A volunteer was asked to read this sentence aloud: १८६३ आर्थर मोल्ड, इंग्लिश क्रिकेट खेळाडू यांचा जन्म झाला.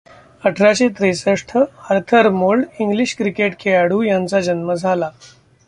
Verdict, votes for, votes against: rejected, 0, 2